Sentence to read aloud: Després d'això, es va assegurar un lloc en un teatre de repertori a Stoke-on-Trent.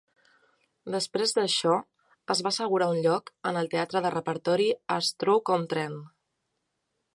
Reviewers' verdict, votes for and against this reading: rejected, 0, 2